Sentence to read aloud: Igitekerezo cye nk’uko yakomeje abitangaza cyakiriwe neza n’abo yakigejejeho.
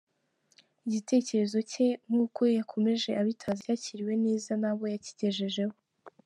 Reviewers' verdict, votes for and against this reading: accepted, 2, 0